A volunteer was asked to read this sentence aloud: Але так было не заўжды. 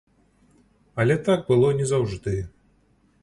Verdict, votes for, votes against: accepted, 2, 0